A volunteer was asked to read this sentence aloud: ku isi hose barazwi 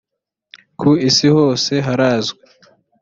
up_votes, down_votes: 1, 2